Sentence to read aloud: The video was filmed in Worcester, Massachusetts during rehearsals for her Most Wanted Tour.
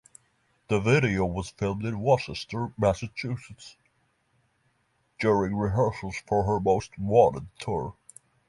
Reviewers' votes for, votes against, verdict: 3, 0, accepted